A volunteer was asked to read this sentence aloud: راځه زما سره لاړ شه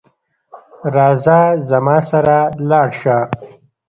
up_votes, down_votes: 2, 0